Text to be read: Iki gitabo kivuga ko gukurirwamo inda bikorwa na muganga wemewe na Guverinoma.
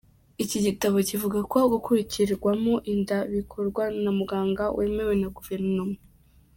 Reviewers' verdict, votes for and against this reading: rejected, 0, 2